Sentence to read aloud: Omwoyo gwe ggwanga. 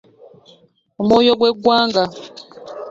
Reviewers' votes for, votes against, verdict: 3, 1, accepted